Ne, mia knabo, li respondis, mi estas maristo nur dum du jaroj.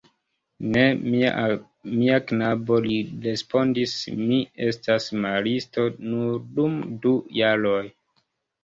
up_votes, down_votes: 0, 2